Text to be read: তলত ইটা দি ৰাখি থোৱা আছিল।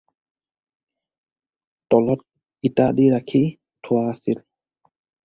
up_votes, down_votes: 4, 0